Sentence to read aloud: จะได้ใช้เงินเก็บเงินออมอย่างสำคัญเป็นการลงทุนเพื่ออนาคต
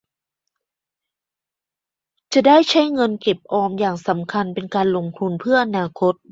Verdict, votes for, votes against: accepted, 2, 0